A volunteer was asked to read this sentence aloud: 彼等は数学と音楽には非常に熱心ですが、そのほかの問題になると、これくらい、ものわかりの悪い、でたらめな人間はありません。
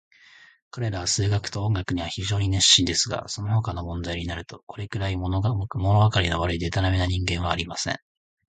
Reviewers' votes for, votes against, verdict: 3, 1, accepted